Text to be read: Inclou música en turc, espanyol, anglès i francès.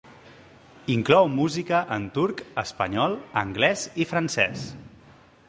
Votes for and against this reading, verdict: 2, 0, accepted